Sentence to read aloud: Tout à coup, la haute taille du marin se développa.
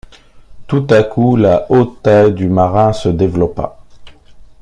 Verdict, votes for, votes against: accepted, 2, 0